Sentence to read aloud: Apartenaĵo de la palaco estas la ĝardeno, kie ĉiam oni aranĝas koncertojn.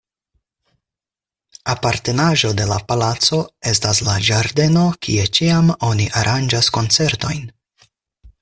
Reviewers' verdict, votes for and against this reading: accepted, 4, 0